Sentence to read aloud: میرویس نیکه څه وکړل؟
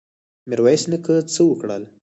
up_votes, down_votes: 4, 0